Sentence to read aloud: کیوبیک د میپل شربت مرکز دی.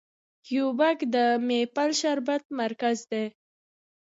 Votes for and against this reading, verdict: 2, 0, accepted